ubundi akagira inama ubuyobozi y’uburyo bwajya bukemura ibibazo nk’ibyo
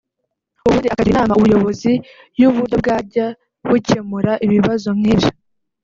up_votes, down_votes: 1, 2